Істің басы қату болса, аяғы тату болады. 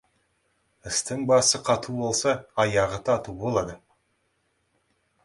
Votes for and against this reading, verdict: 2, 0, accepted